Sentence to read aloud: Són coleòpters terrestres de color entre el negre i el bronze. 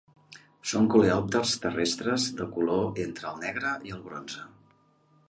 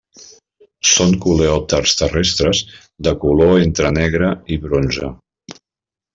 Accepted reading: first